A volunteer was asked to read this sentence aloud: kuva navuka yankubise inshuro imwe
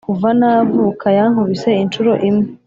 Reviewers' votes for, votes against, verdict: 4, 0, accepted